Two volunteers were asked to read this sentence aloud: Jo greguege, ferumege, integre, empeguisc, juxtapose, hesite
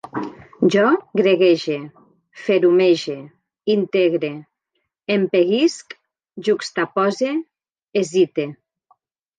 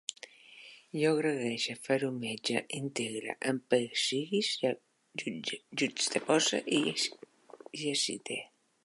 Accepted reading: first